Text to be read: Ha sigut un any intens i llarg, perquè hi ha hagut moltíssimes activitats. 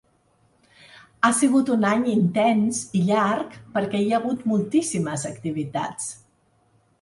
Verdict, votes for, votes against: accepted, 3, 0